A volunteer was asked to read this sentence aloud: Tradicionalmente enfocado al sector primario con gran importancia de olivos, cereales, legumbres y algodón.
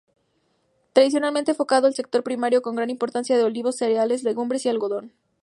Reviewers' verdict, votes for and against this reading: accepted, 4, 0